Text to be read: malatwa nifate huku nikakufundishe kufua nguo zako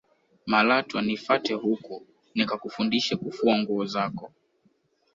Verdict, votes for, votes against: accepted, 2, 0